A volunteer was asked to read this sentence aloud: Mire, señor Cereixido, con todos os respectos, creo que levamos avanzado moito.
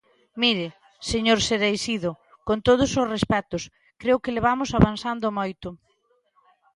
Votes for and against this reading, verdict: 1, 3, rejected